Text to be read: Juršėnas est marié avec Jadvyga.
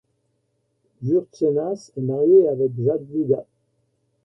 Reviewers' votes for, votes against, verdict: 2, 0, accepted